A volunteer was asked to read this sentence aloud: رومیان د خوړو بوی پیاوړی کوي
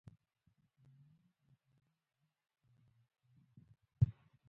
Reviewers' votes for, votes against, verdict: 1, 3, rejected